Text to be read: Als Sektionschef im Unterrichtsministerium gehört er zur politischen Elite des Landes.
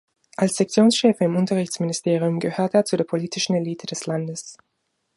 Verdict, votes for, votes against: rejected, 1, 2